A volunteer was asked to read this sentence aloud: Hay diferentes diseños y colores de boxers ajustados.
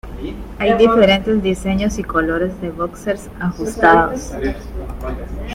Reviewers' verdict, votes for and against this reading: rejected, 0, 2